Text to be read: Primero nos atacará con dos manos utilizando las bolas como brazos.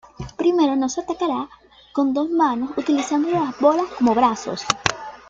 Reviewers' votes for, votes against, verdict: 2, 1, accepted